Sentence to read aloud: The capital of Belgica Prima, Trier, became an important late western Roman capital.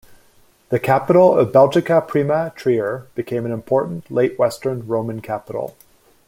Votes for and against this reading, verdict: 2, 0, accepted